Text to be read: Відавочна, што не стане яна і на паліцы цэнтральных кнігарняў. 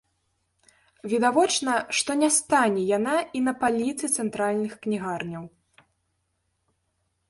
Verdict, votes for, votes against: accepted, 2, 0